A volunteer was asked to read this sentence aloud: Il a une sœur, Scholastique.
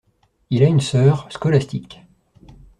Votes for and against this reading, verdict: 2, 0, accepted